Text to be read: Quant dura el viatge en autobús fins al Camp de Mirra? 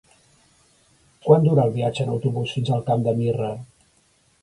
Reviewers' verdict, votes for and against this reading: accepted, 4, 0